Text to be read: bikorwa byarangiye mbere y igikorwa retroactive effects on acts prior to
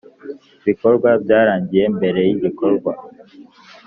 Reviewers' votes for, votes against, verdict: 0, 3, rejected